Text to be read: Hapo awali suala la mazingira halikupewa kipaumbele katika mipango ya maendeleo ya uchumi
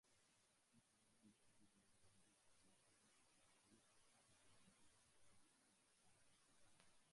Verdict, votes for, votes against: rejected, 0, 2